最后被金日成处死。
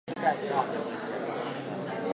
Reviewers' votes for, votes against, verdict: 0, 6, rejected